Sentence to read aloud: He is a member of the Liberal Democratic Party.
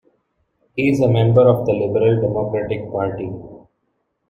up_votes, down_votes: 2, 1